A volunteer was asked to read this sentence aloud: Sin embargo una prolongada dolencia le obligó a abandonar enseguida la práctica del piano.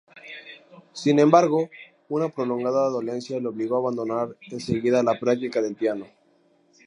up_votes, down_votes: 2, 0